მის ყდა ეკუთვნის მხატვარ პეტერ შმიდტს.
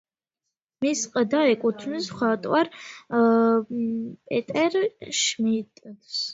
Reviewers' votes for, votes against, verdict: 1, 2, rejected